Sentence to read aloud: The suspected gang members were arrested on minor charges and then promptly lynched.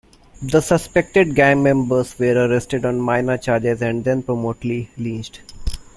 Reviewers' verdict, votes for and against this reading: rejected, 0, 2